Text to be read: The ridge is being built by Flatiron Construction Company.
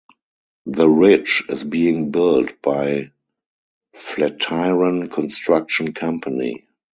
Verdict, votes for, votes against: rejected, 0, 2